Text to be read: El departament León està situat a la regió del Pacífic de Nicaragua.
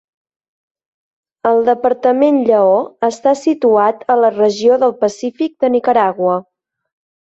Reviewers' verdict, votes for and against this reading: rejected, 0, 2